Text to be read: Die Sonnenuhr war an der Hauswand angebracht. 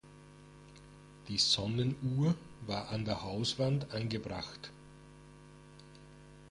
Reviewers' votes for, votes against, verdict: 1, 2, rejected